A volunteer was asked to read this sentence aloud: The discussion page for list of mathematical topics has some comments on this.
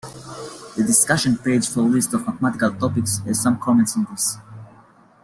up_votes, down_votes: 2, 1